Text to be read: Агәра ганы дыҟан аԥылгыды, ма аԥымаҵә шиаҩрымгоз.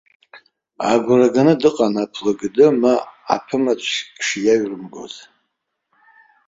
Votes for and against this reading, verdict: 2, 3, rejected